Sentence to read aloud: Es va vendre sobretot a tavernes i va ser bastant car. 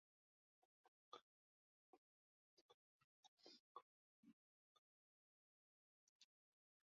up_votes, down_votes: 0, 2